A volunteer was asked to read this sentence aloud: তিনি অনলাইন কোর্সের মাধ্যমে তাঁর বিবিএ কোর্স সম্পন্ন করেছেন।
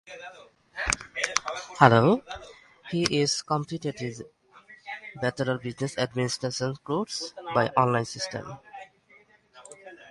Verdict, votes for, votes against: rejected, 6, 11